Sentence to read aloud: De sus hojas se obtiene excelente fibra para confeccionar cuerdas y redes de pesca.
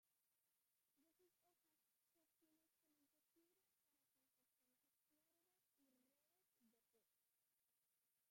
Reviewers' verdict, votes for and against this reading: rejected, 0, 2